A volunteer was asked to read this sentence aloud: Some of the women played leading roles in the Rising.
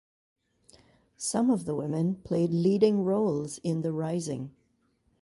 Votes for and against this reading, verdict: 2, 0, accepted